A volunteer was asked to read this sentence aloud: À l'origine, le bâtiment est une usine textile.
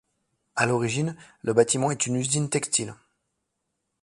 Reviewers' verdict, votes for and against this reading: accepted, 2, 0